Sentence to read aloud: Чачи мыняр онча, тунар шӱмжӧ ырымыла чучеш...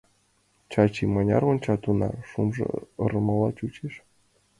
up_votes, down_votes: 2, 0